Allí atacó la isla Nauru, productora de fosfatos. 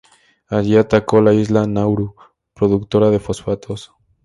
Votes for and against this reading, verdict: 4, 2, accepted